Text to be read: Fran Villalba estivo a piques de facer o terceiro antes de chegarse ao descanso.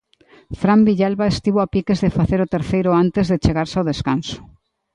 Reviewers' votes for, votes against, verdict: 2, 0, accepted